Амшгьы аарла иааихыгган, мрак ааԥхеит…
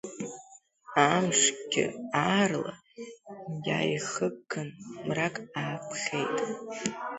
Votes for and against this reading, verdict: 1, 2, rejected